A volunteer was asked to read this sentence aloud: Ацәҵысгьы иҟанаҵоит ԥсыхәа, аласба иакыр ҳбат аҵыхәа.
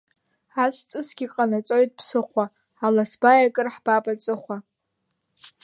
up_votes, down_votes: 1, 2